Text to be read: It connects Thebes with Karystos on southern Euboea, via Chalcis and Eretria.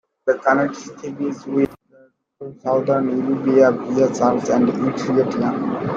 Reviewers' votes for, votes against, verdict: 0, 2, rejected